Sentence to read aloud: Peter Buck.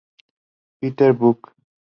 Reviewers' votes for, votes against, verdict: 2, 0, accepted